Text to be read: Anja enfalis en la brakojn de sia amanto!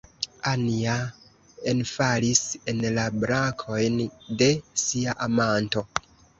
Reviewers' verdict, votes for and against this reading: rejected, 0, 2